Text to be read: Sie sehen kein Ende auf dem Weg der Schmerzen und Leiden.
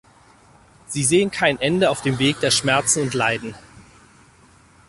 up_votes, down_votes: 2, 4